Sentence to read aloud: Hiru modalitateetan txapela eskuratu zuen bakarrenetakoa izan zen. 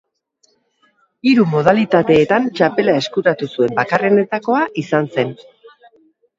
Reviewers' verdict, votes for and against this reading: accepted, 5, 0